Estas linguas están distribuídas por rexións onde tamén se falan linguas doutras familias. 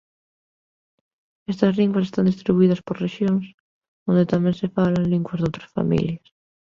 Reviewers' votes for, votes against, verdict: 2, 0, accepted